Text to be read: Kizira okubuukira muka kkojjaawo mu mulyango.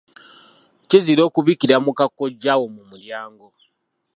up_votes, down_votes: 2, 1